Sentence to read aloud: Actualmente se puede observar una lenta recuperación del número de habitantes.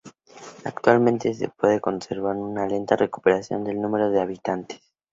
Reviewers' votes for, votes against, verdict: 2, 0, accepted